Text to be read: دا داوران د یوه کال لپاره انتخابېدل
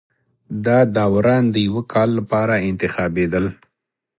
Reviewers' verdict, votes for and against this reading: accepted, 2, 0